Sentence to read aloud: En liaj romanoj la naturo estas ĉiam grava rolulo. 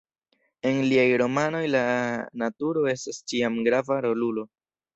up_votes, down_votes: 2, 0